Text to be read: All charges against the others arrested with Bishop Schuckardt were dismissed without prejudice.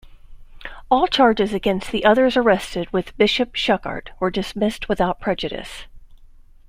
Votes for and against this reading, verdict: 2, 0, accepted